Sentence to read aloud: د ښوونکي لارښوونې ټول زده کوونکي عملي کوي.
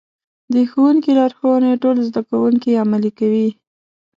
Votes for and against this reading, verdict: 2, 0, accepted